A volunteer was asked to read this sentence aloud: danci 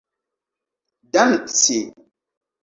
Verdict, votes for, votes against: accepted, 3, 2